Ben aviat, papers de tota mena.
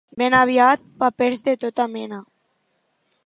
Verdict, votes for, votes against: accepted, 5, 0